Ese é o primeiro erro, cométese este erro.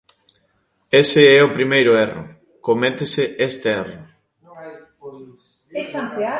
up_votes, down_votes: 1, 2